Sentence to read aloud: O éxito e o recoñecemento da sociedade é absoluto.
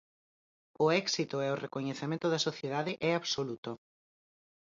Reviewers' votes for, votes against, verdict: 4, 0, accepted